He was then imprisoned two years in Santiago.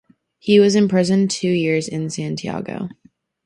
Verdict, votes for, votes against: rejected, 2, 2